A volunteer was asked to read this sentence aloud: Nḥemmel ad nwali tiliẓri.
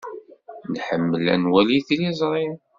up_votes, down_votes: 2, 0